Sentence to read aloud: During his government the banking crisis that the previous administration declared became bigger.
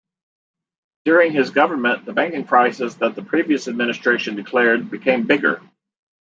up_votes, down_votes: 2, 1